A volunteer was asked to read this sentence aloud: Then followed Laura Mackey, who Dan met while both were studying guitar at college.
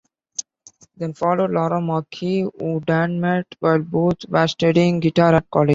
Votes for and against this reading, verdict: 0, 2, rejected